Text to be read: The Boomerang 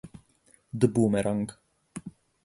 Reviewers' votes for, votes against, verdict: 8, 0, accepted